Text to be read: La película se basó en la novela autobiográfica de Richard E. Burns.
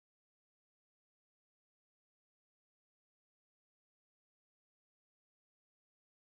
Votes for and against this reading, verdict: 0, 2, rejected